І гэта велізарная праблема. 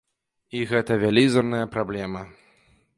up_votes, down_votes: 0, 2